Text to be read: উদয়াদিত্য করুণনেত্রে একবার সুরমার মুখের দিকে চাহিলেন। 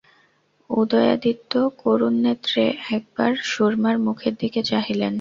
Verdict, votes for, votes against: rejected, 0, 2